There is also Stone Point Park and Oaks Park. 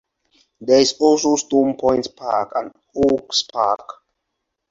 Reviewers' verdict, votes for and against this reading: accepted, 4, 2